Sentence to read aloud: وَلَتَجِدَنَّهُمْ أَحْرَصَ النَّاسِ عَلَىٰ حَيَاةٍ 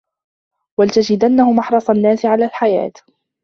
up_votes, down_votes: 2, 1